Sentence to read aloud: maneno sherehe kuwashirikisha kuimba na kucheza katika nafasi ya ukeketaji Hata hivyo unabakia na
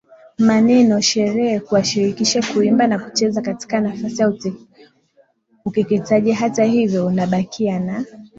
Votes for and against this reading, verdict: 3, 0, accepted